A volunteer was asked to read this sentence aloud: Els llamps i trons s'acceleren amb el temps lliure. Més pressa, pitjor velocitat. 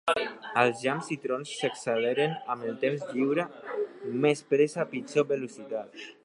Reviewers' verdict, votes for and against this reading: accepted, 3, 1